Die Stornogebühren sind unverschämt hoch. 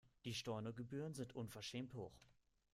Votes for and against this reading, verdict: 1, 2, rejected